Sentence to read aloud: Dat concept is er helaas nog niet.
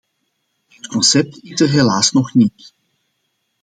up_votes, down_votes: 2, 0